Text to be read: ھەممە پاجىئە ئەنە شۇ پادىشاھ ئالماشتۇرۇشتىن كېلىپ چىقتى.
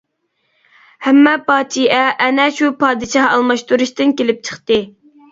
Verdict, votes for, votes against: rejected, 1, 2